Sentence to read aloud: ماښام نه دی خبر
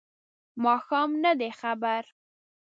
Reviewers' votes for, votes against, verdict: 2, 0, accepted